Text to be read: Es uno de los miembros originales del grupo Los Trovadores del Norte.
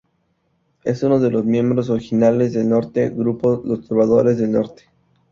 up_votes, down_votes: 0, 2